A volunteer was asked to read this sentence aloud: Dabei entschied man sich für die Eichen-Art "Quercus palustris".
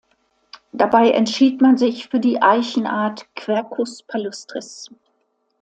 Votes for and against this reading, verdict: 2, 0, accepted